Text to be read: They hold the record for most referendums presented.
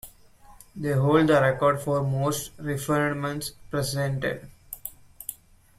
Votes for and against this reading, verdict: 1, 2, rejected